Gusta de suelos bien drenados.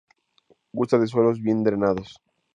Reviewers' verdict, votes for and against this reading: accepted, 2, 0